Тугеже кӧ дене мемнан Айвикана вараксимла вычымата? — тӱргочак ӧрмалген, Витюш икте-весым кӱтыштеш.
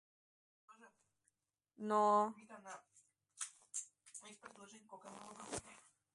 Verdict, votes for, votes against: rejected, 0, 2